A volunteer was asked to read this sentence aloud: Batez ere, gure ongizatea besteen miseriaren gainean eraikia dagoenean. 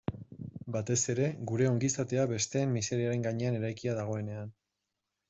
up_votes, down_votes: 2, 0